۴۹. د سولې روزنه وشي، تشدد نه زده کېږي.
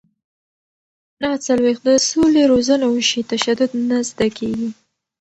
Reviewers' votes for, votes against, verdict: 0, 2, rejected